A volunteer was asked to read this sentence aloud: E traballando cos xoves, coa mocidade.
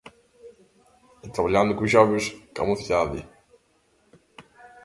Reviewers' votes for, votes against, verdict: 0, 2, rejected